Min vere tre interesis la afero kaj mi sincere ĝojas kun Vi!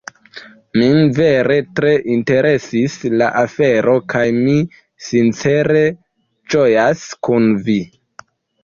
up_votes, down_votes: 2, 0